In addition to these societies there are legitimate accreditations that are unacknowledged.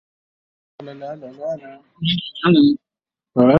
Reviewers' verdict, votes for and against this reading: rejected, 0, 2